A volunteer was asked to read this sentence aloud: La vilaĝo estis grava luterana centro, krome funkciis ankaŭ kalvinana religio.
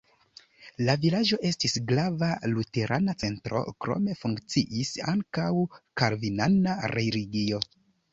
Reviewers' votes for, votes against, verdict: 1, 2, rejected